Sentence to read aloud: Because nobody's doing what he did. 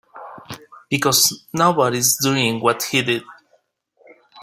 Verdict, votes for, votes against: accepted, 2, 1